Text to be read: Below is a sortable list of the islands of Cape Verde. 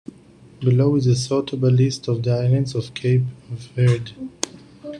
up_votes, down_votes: 2, 0